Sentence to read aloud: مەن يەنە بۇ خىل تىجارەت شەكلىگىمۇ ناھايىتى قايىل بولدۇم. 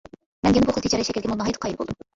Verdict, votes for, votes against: rejected, 0, 2